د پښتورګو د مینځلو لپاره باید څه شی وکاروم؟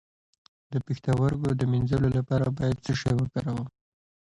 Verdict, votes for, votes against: accepted, 2, 1